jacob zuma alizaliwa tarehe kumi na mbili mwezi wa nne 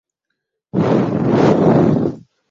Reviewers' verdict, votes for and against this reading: rejected, 0, 2